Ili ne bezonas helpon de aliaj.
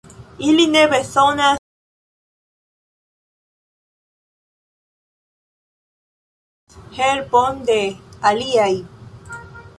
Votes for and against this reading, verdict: 0, 2, rejected